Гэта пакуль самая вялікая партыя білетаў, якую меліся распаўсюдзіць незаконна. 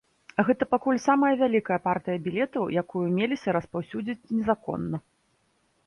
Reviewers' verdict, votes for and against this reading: accepted, 2, 0